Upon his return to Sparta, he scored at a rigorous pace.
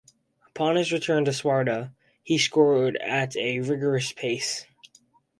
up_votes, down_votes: 2, 0